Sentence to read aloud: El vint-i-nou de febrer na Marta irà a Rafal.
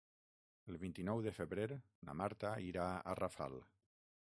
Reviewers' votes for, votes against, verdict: 6, 0, accepted